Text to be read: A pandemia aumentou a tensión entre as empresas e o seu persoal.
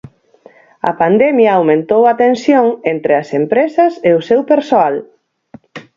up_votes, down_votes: 2, 4